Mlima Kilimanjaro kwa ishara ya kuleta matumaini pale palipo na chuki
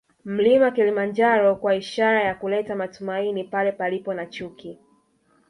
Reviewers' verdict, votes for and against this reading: rejected, 0, 2